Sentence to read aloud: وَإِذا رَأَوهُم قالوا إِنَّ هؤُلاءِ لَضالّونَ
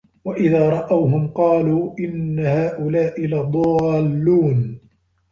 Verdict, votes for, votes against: rejected, 1, 2